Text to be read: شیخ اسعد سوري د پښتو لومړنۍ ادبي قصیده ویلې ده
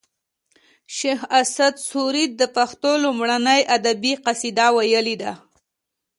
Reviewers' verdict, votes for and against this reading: accepted, 2, 0